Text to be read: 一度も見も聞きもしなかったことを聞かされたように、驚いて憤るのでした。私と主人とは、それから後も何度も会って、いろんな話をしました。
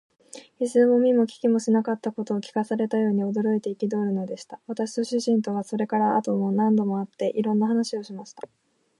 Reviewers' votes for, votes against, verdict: 2, 0, accepted